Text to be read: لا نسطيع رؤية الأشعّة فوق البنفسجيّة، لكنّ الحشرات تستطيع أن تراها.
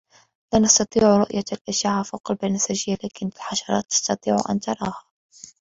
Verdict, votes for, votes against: rejected, 1, 2